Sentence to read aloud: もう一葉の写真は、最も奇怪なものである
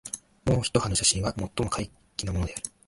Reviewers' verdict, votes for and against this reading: rejected, 0, 2